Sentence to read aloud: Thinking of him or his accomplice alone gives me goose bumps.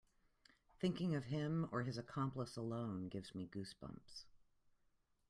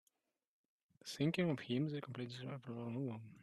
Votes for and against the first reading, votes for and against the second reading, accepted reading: 2, 0, 0, 2, first